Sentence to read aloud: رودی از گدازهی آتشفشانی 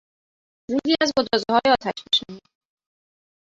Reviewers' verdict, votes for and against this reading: rejected, 0, 2